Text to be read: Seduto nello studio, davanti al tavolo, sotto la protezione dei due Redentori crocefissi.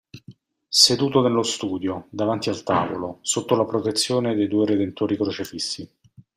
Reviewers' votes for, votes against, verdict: 2, 0, accepted